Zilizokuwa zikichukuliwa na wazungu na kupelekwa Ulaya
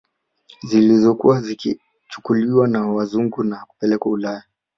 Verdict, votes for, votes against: accepted, 2, 0